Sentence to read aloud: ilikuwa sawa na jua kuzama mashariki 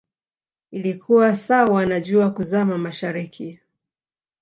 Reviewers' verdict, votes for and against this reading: accepted, 2, 0